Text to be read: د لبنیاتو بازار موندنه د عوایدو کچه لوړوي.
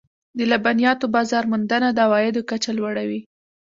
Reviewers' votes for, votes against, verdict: 0, 2, rejected